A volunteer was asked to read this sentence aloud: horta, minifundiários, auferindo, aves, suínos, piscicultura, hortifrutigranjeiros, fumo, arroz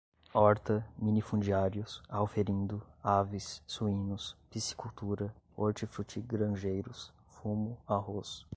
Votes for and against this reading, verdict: 2, 0, accepted